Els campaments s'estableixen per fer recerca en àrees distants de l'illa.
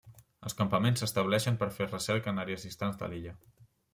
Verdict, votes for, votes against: accepted, 3, 0